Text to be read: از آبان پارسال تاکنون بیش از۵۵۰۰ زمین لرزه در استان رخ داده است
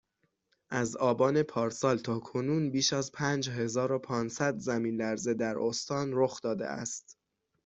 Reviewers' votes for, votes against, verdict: 0, 2, rejected